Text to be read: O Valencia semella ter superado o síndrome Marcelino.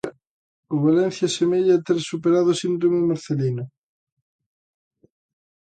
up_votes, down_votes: 2, 0